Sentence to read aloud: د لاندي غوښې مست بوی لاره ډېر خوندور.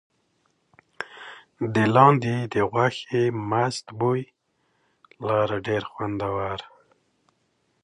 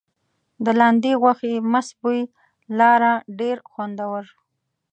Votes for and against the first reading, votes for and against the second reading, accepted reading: 2, 0, 1, 2, first